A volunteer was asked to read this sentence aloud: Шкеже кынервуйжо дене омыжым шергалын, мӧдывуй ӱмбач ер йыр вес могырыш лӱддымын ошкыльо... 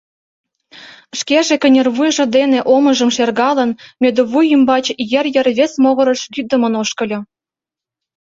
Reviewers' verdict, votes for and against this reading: accepted, 2, 0